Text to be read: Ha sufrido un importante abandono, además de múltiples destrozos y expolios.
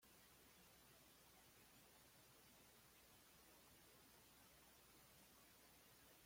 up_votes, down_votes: 2, 0